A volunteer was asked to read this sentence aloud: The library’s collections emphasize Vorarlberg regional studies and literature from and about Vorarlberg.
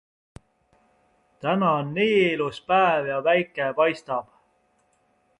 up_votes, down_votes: 0, 2